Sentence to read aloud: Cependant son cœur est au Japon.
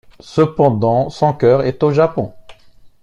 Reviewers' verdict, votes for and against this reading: accepted, 2, 0